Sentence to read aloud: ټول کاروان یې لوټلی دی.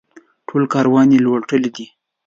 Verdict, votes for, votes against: accepted, 3, 1